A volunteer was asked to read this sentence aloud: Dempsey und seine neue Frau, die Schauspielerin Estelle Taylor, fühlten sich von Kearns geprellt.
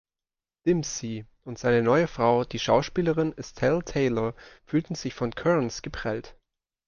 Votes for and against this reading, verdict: 2, 0, accepted